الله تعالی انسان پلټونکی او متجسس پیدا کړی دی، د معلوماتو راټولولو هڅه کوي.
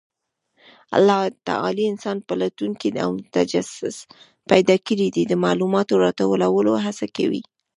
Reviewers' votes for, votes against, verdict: 2, 0, accepted